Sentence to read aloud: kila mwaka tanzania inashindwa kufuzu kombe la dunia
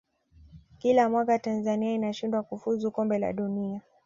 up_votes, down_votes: 2, 1